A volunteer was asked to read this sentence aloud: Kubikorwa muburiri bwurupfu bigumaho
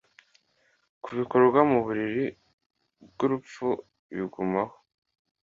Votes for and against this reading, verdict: 2, 0, accepted